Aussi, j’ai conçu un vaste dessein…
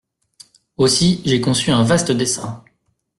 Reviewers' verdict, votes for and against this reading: accepted, 2, 0